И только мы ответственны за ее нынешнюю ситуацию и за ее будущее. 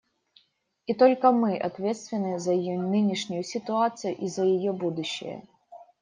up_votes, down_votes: 2, 0